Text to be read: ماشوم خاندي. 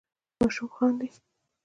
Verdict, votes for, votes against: accepted, 2, 0